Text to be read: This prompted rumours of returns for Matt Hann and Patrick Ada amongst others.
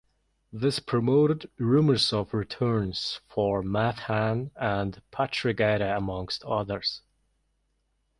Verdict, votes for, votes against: rejected, 0, 2